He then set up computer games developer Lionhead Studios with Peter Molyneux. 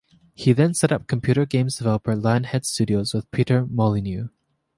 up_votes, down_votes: 2, 0